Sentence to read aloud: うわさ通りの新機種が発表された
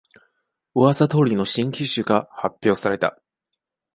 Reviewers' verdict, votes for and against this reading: accepted, 2, 0